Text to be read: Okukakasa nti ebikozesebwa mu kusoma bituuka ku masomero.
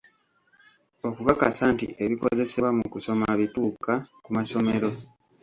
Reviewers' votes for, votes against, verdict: 2, 1, accepted